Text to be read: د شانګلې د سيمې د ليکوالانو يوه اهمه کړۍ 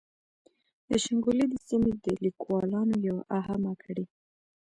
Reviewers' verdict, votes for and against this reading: rejected, 1, 2